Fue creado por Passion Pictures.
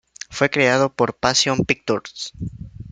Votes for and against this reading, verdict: 0, 2, rejected